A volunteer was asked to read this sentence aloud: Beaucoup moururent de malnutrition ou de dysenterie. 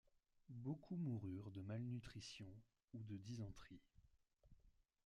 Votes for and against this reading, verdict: 2, 0, accepted